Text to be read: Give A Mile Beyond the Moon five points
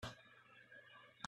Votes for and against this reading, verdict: 1, 2, rejected